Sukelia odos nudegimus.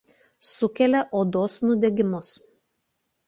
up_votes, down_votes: 2, 0